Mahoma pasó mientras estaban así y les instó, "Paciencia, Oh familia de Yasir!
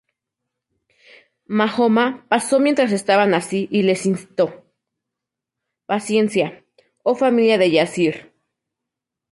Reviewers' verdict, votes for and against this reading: rejected, 0, 2